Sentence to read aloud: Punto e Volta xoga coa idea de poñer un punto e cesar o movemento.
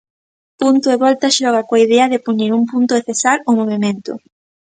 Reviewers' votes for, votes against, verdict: 0, 2, rejected